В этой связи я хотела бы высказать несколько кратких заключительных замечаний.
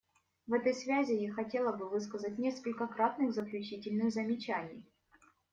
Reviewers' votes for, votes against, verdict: 0, 2, rejected